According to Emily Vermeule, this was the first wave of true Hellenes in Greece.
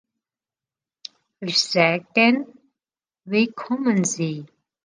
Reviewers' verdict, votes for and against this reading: rejected, 0, 2